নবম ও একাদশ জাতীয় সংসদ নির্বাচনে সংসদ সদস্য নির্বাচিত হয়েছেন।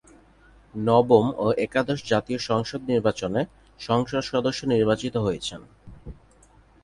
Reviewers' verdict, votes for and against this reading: rejected, 2, 2